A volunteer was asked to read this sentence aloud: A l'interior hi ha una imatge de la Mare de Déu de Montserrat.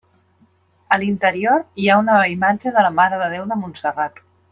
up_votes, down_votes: 0, 2